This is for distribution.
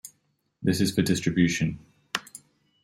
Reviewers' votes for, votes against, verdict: 2, 1, accepted